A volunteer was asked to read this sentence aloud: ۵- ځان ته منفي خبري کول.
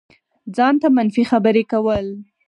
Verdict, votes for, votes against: rejected, 0, 2